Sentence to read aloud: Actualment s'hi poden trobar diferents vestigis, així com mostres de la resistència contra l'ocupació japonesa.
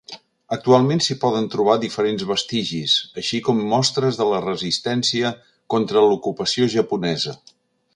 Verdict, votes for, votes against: accepted, 2, 0